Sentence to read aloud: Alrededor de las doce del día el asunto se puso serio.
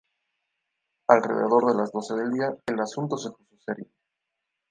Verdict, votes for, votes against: rejected, 0, 2